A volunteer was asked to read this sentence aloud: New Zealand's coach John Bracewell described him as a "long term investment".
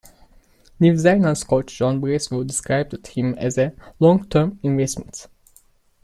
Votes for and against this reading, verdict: 1, 2, rejected